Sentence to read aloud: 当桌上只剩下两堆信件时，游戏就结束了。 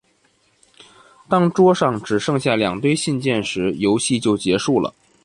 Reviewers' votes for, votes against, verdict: 2, 0, accepted